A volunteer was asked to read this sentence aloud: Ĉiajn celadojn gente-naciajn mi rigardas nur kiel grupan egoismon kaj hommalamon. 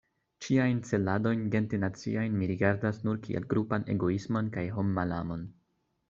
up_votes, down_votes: 2, 0